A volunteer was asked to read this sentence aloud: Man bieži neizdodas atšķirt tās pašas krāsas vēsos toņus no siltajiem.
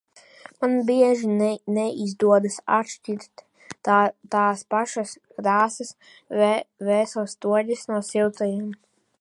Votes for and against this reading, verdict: 0, 2, rejected